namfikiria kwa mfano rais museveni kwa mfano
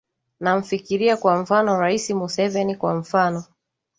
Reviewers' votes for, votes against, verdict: 2, 0, accepted